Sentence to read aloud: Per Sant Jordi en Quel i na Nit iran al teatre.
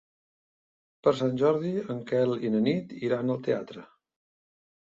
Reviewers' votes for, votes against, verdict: 3, 0, accepted